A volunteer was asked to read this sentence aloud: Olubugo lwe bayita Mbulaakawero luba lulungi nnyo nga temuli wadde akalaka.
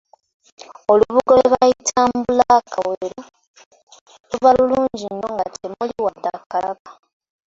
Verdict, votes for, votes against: rejected, 0, 2